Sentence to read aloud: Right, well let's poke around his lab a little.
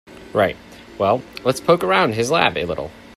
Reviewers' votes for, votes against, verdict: 0, 2, rejected